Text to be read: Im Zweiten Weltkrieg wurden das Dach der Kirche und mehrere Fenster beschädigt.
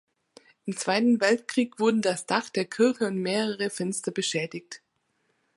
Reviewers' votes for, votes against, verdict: 1, 2, rejected